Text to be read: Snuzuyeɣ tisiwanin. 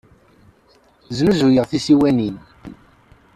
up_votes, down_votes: 2, 0